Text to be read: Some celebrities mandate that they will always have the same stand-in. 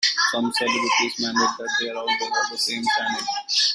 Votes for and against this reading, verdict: 0, 3, rejected